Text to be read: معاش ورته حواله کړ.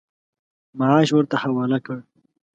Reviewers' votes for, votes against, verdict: 2, 0, accepted